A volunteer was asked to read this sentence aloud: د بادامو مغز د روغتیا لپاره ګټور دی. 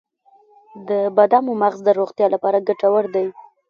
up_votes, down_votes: 2, 1